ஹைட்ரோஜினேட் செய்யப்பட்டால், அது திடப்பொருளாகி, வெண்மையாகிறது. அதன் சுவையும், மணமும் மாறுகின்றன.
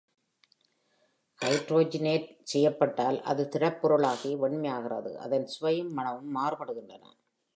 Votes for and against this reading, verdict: 0, 2, rejected